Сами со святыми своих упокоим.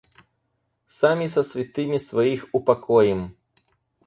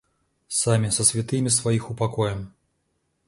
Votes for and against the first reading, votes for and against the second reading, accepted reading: 2, 2, 2, 0, second